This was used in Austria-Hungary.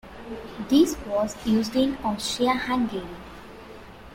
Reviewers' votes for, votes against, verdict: 2, 1, accepted